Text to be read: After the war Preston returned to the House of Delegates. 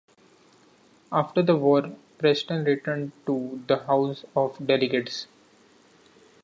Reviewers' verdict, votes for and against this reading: accepted, 2, 0